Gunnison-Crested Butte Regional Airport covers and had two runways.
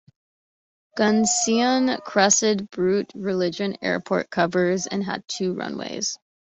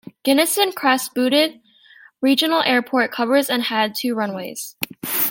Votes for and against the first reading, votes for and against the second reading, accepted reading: 0, 2, 2, 0, second